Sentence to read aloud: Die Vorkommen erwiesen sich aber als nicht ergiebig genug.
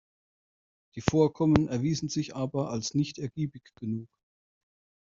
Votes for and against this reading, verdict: 1, 2, rejected